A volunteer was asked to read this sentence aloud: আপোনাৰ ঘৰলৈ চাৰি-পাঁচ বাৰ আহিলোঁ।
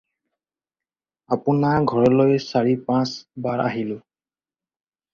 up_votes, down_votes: 2, 0